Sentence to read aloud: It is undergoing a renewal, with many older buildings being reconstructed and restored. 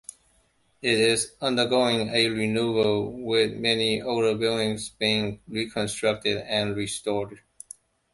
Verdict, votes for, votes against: accepted, 2, 0